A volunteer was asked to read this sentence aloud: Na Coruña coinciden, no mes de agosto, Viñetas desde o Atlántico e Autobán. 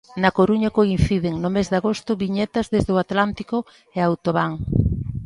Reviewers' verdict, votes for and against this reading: accepted, 2, 0